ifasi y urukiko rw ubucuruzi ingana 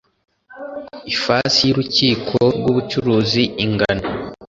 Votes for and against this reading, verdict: 2, 0, accepted